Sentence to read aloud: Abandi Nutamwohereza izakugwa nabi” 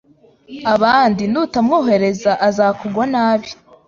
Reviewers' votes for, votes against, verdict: 1, 2, rejected